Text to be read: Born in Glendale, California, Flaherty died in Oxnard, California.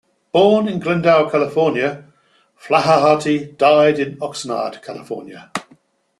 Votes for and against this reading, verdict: 0, 2, rejected